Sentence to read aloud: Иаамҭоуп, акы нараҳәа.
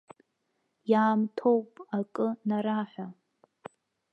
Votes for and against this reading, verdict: 1, 2, rejected